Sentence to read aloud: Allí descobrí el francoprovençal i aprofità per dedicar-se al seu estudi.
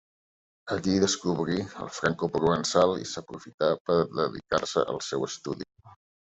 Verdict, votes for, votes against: accepted, 2, 0